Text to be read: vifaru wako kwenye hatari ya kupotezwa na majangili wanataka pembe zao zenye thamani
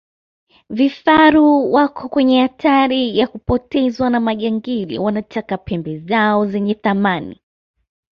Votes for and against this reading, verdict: 2, 0, accepted